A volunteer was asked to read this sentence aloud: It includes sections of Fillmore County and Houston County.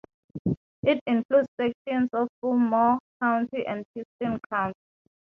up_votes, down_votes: 3, 0